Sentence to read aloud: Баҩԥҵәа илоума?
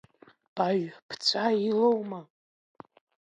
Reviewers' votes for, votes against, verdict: 1, 2, rejected